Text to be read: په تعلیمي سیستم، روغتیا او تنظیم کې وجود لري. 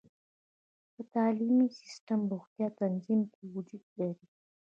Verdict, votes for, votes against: accepted, 2, 0